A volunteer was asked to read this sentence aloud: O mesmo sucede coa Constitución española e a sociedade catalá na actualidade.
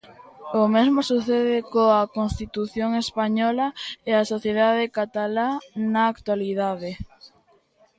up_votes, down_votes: 1, 2